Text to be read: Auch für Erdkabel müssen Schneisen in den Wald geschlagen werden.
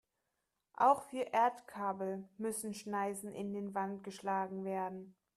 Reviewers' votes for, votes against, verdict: 0, 2, rejected